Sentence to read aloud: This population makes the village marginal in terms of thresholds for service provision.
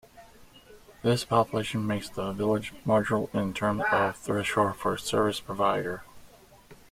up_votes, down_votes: 0, 2